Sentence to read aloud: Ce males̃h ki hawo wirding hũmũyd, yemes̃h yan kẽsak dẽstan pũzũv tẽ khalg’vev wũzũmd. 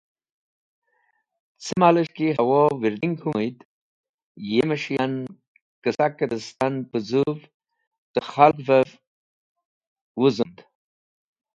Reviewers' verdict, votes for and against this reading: rejected, 1, 2